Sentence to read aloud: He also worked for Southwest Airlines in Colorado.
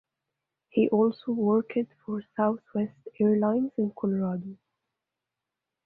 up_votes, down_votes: 0, 2